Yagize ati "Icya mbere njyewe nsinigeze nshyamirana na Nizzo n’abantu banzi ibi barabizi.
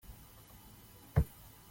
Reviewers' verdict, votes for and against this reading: rejected, 0, 2